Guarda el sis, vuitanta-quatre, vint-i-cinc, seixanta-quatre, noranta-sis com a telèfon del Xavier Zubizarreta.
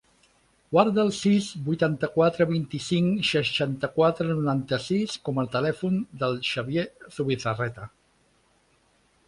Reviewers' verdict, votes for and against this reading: accepted, 3, 0